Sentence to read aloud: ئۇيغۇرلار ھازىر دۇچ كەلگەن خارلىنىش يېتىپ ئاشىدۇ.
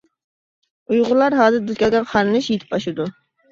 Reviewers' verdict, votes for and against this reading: rejected, 0, 2